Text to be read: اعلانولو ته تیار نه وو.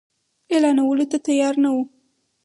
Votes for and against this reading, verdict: 4, 0, accepted